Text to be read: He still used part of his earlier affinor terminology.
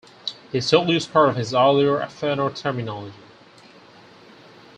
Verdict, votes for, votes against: rejected, 2, 4